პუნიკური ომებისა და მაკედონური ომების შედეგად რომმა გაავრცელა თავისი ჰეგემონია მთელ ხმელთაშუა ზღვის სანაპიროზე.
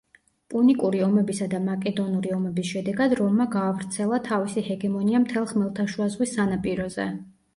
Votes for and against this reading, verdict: 2, 0, accepted